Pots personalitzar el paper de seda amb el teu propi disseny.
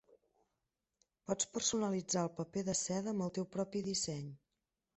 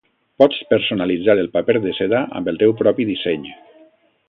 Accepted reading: second